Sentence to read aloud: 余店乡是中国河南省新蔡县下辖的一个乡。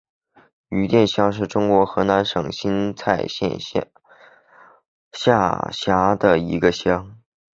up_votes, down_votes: 0, 2